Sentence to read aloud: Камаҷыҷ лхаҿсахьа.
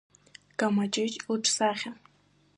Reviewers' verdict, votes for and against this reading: rejected, 0, 2